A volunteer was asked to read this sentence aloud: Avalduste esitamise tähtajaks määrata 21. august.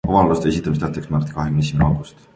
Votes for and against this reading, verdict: 0, 2, rejected